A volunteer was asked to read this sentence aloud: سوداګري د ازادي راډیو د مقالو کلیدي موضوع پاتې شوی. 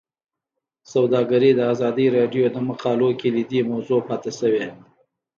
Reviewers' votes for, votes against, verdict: 2, 1, accepted